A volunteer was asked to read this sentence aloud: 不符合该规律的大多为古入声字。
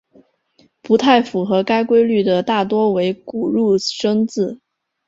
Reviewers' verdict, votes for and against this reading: rejected, 0, 2